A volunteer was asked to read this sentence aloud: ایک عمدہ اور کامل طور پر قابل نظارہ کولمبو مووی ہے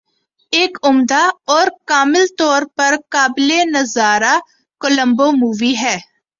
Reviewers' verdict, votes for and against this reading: accepted, 2, 0